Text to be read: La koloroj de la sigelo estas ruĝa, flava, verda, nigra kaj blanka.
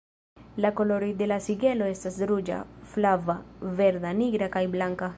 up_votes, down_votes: 1, 2